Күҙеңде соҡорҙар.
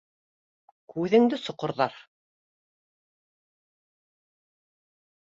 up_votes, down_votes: 1, 2